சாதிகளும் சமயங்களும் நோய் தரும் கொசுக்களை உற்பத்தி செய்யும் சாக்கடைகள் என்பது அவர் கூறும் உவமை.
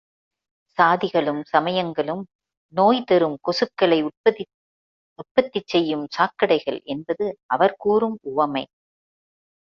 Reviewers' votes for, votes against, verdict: 1, 2, rejected